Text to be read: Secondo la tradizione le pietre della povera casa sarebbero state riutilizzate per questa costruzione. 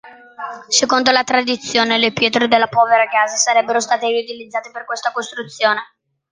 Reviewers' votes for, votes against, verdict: 2, 0, accepted